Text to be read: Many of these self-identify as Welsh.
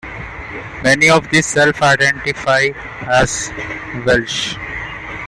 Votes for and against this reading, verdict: 0, 3, rejected